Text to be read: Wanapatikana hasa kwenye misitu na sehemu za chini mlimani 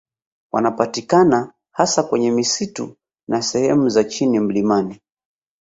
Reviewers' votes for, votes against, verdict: 2, 1, accepted